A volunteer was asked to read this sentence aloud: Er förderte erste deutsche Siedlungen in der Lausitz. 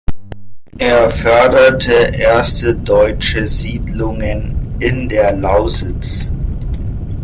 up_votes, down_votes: 2, 0